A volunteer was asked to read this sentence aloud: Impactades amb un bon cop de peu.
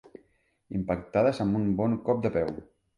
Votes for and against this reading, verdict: 4, 0, accepted